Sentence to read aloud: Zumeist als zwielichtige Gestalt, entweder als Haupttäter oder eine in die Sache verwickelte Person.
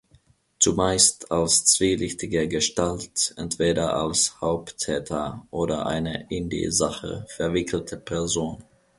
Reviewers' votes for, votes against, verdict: 2, 0, accepted